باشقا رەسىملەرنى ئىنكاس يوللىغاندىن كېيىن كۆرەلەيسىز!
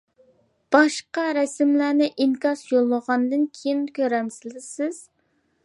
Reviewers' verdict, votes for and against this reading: rejected, 0, 2